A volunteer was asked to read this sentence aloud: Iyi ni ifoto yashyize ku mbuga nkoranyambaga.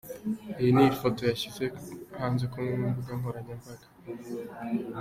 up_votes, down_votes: 1, 3